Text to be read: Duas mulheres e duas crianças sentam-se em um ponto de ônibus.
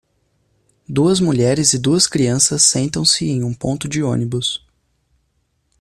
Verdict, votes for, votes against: accepted, 2, 0